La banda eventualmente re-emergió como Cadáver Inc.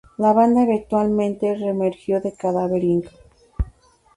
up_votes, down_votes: 0, 2